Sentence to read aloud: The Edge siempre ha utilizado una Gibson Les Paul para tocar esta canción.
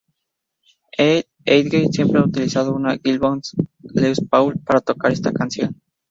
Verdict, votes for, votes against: rejected, 0, 4